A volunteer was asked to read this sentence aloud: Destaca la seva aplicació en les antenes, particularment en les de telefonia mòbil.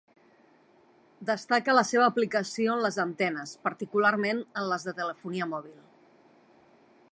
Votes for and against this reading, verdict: 3, 0, accepted